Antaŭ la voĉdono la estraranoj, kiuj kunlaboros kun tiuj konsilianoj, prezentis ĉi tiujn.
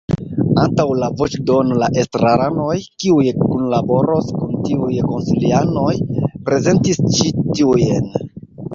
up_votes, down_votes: 2, 1